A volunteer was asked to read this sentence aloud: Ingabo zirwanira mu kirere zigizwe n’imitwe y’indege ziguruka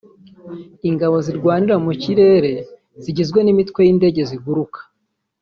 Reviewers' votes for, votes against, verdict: 1, 2, rejected